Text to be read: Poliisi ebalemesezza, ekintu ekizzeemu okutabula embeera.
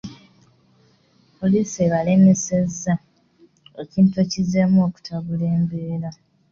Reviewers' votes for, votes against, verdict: 2, 0, accepted